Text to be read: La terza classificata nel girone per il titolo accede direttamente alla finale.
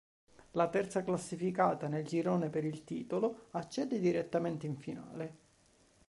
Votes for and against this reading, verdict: 0, 2, rejected